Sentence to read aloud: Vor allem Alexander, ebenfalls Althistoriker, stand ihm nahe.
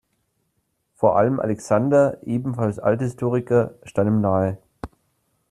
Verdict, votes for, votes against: accepted, 2, 0